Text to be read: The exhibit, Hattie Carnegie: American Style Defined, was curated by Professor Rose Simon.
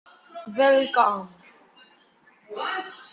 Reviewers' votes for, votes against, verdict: 0, 2, rejected